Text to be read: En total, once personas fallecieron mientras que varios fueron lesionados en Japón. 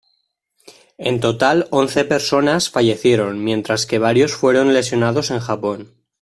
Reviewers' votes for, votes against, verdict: 2, 0, accepted